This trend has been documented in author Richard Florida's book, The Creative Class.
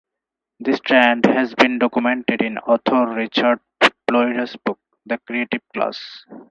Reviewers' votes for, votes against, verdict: 4, 0, accepted